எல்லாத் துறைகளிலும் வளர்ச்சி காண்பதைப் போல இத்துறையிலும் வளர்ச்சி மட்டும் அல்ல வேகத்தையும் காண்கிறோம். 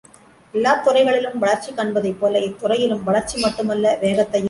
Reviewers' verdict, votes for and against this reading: rejected, 0, 2